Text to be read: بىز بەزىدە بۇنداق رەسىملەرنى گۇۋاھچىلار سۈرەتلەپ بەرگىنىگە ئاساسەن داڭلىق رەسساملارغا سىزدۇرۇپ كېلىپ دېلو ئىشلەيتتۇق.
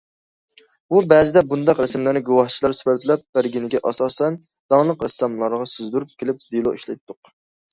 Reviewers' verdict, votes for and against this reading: rejected, 1, 2